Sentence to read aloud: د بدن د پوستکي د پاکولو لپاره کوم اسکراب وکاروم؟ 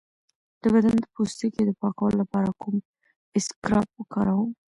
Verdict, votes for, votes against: accepted, 2, 0